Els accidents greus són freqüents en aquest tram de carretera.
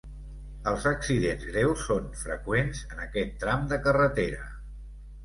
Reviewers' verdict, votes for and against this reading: accepted, 2, 0